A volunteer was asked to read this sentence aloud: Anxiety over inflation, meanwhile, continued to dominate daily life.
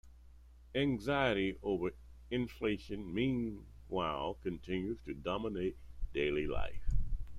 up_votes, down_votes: 0, 2